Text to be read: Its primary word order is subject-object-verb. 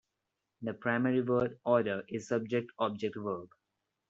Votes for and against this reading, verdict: 0, 2, rejected